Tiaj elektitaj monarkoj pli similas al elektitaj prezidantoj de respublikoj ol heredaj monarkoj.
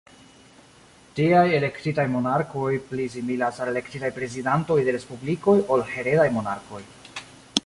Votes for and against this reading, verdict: 2, 1, accepted